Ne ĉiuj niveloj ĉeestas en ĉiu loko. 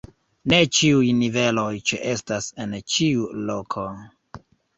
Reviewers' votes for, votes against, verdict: 1, 2, rejected